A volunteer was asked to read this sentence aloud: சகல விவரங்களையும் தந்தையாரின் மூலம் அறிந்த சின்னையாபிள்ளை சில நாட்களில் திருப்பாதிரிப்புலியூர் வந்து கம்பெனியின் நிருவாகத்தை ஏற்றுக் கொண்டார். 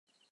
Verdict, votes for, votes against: rejected, 0, 2